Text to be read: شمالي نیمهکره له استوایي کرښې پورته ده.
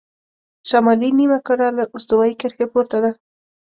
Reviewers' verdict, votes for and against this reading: accepted, 2, 0